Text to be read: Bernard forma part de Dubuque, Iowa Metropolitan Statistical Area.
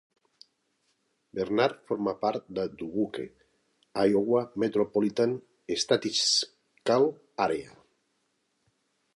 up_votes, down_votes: 0, 2